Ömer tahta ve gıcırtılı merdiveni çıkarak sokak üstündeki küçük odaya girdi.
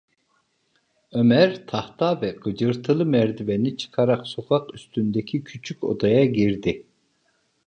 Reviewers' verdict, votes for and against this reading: accepted, 3, 0